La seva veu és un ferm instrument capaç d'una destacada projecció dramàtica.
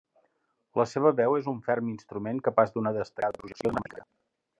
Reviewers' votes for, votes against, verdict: 0, 2, rejected